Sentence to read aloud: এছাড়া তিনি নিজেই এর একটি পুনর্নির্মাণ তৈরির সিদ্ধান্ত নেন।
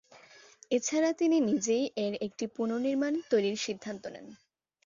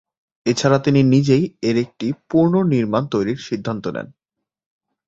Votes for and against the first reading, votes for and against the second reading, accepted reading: 2, 0, 1, 2, first